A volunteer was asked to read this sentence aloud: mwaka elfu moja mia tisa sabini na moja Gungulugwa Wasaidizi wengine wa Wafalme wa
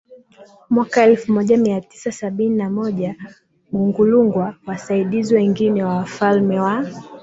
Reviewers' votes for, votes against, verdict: 4, 1, accepted